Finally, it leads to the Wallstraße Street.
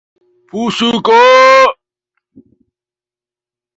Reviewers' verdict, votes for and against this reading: rejected, 0, 2